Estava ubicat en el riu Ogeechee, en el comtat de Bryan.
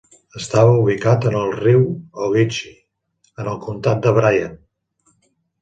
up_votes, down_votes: 3, 0